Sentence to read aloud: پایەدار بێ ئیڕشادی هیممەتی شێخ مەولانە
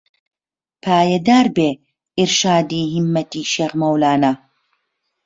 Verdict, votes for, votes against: accepted, 4, 0